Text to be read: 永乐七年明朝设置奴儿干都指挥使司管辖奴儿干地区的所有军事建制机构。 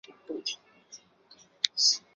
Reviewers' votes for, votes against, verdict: 0, 2, rejected